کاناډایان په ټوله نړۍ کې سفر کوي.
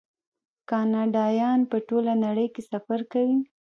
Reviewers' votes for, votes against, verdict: 1, 2, rejected